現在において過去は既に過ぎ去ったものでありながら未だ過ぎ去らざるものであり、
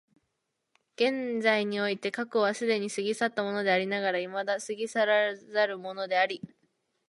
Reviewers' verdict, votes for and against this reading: accepted, 2, 0